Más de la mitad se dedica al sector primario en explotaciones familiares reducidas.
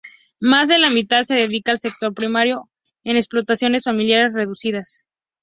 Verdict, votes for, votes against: accepted, 2, 0